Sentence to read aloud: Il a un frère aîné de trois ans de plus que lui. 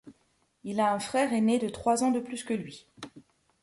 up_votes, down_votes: 2, 0